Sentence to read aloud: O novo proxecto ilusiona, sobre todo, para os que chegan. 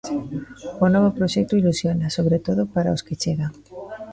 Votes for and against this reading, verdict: 0, 2, rejected